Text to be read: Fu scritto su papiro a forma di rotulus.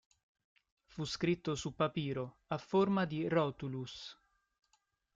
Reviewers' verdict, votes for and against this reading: accepted, 2, 0